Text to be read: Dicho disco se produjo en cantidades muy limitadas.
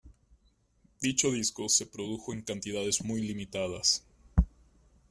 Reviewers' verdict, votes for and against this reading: accepted, 2, 0